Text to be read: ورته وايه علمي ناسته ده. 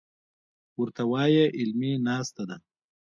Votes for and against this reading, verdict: 2, 0, accepted